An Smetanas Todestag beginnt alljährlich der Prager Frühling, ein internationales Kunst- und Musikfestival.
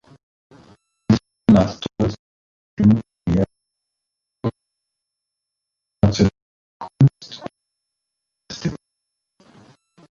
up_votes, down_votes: 0, 2